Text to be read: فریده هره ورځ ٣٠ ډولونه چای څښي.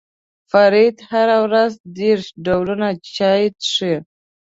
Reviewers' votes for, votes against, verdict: 0, 2, rejected